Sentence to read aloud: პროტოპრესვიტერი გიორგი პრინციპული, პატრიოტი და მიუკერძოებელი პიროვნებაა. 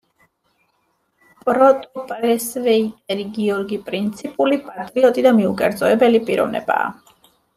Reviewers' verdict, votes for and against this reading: rejected, 0, 2